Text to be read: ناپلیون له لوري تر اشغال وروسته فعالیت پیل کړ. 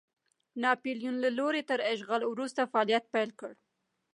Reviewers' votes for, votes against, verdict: 2, 0, accepted